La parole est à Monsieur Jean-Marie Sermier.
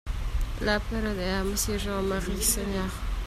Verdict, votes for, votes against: rejected, 0, 2